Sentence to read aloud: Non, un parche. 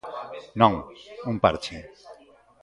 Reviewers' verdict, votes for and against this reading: accepted, 2, 0